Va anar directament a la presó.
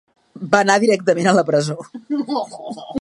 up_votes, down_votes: 3, 1